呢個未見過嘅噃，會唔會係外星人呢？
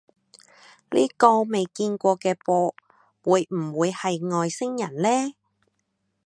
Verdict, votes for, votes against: accepted, 3, 0